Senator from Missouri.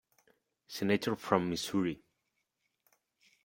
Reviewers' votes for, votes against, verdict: 1, 2, rejected